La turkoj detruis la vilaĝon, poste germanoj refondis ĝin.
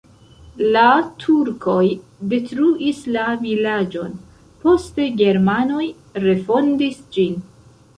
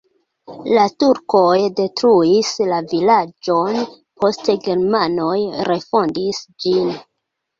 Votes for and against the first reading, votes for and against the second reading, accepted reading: 1, 2, 2, 0, second